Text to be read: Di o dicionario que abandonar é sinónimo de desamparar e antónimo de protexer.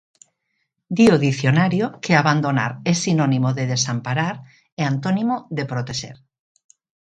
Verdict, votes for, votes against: accepted, 2, 0